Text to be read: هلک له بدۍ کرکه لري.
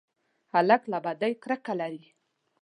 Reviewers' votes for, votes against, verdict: 2, 0, accepted